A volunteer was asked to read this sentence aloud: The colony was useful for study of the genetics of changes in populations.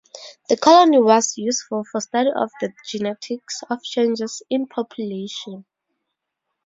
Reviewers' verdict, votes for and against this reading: rejected, 2, 2